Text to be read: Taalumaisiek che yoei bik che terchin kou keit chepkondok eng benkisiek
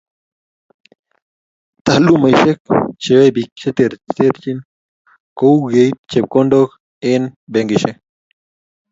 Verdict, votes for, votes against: accepted, 2, 0